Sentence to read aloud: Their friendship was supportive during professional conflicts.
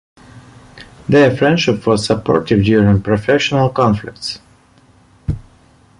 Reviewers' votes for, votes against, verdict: 2, 0, accepted